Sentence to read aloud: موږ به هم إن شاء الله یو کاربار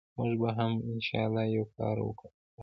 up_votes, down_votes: 0, 2